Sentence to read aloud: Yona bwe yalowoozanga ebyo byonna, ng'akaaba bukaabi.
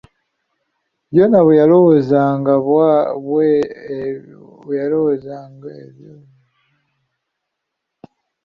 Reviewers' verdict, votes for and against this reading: rejected, 0, 2